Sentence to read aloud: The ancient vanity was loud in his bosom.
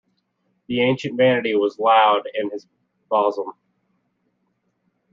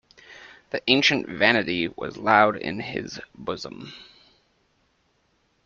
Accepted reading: second